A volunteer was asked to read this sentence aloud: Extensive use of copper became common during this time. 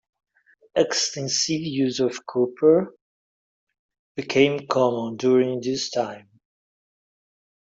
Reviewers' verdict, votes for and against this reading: accepted, 2, 0